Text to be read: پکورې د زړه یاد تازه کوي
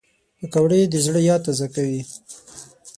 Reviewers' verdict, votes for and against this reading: rejected, 0, 6